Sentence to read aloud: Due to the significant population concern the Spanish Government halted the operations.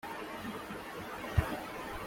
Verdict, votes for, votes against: rejected, 0, 2